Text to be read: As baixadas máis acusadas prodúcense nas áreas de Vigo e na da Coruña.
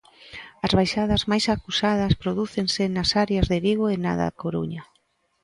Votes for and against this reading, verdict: 3, 0, accepted